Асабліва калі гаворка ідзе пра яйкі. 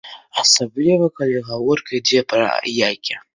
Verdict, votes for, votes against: accepted, 3, 0